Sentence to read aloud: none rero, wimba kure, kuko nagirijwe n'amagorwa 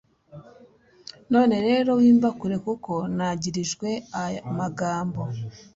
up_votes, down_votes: 1, 2